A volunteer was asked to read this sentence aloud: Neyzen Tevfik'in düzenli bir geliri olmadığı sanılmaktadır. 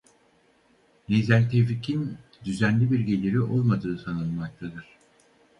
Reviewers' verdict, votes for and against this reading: rejected, 0, 4